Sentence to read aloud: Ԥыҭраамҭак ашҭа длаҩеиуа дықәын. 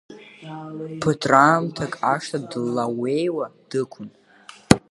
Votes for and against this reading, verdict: 0, 2, rejected